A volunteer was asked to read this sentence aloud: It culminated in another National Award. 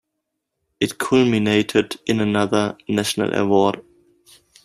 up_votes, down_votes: 2, 1